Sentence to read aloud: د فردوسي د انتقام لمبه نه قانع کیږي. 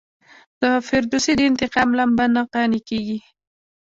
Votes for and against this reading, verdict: 1, 2, rejected